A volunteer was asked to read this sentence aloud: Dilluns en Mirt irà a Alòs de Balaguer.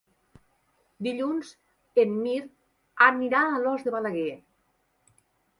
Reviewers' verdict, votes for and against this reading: rejected, 1, 3